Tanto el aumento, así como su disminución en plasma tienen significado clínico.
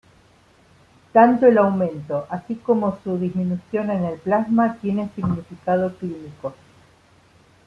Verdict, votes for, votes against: rejected, 0, 2